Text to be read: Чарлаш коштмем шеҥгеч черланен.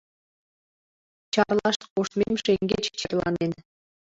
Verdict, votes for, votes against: rejected, 0, 3